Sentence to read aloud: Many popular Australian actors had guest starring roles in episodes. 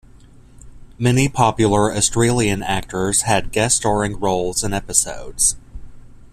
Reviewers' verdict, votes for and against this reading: accepted, 2, 0